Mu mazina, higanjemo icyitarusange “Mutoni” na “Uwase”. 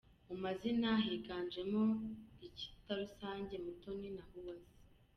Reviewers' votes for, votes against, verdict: 2, 1, accepted